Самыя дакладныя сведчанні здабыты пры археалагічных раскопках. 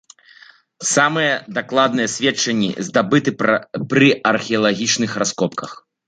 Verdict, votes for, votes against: rejected, 0, 2